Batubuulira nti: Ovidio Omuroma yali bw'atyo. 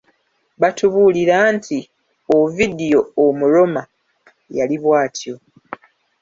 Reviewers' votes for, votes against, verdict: 1, 2, rejected